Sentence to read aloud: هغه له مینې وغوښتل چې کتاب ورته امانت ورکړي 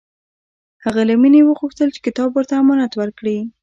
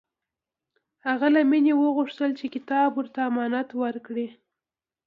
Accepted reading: second